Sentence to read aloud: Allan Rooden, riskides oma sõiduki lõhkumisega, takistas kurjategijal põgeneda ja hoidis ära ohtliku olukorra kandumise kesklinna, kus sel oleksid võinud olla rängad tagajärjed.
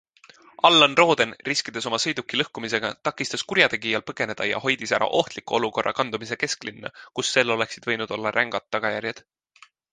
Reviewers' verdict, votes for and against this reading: accepted, 2, 0